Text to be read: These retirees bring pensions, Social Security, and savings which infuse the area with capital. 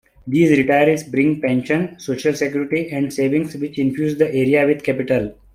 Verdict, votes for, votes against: rejected, 1, 2